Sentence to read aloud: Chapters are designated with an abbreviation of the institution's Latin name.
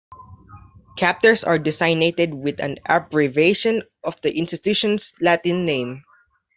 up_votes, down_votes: 0, 2